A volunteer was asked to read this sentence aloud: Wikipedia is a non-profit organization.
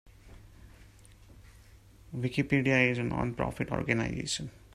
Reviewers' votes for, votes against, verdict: 1, 2, rejected